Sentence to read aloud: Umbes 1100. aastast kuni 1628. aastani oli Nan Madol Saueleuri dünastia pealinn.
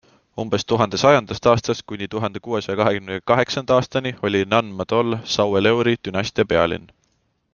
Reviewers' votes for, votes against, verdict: 0, 2, rejected